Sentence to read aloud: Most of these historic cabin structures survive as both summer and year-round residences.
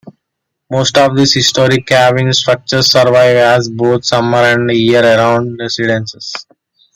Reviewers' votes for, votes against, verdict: 1, 2, rejected